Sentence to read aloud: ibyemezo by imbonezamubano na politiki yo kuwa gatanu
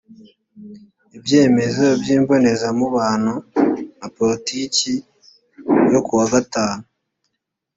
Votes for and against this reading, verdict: 2, 0, accepted